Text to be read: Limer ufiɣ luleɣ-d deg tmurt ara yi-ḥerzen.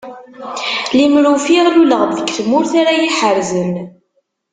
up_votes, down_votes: 1, 2